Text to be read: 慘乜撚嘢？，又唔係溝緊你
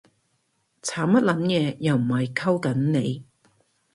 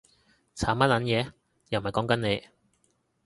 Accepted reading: first